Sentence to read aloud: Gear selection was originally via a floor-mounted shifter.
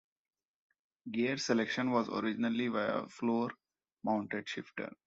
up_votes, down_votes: 1, 2